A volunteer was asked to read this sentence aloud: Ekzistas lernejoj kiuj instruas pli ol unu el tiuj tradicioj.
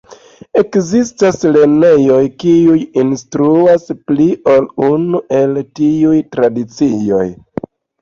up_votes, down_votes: 2, 0